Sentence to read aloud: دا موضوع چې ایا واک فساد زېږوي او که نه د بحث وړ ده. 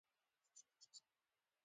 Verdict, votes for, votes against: rejected, 0, 2